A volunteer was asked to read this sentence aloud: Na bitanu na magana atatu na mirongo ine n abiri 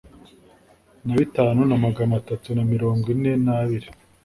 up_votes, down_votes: 2, 0